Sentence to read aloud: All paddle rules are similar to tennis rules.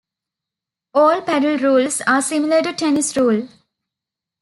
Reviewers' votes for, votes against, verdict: 0, 2, rejected